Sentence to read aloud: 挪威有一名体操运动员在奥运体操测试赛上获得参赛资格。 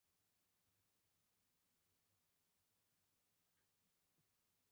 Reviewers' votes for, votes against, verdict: 0, 3, rejected